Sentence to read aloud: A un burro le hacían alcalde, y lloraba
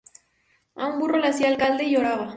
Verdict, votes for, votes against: rejected, 0, 2